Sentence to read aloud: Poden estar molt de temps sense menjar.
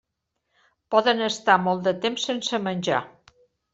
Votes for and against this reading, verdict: 3, 0, accepted